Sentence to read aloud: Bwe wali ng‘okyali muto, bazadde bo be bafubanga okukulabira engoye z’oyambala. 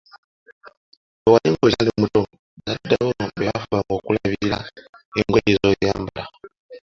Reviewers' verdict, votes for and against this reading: accepted, 2, 0